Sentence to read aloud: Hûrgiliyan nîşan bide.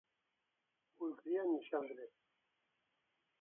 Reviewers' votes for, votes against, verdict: 0, 2, rejected